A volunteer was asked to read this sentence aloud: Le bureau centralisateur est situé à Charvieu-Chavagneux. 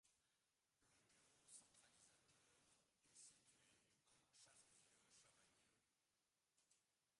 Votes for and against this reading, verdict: 0, 2, rejected